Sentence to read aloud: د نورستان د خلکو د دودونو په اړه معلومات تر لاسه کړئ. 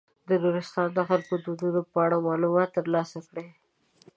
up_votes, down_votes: 2, 0